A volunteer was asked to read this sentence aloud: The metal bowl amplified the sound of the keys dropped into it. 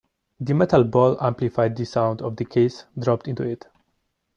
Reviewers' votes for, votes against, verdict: 1, 2, rejected